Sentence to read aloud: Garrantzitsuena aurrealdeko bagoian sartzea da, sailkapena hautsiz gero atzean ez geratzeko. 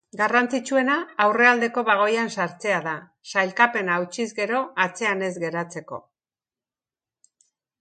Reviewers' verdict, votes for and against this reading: accepted, 3, 0